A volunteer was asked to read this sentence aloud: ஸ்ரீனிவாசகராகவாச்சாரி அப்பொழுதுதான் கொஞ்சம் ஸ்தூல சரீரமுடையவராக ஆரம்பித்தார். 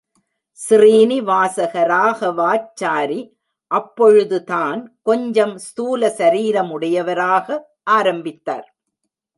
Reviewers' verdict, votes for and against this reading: accepted, 2, 0